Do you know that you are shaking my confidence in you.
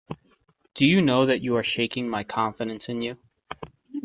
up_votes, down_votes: 2, 0